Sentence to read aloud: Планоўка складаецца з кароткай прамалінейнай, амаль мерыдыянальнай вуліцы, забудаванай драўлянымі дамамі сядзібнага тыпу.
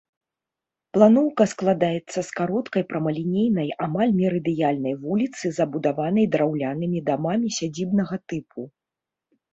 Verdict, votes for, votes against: rejected, 1, 2